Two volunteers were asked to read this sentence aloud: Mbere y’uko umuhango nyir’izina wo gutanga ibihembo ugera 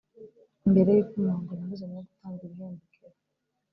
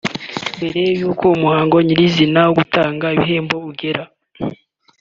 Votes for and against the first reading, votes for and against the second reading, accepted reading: 1, 2, 2, 0, second